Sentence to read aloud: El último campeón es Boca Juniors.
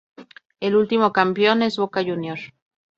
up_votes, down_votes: 2, 0